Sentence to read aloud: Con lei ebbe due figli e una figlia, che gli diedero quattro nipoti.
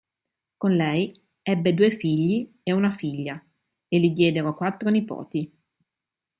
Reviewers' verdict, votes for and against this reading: rejected, 0, 2